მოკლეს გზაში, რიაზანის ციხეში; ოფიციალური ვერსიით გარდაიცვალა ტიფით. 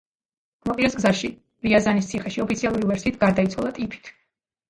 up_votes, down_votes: 1, 3